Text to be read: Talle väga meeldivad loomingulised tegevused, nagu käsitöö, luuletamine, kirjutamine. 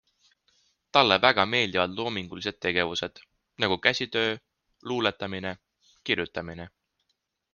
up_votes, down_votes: 2, 0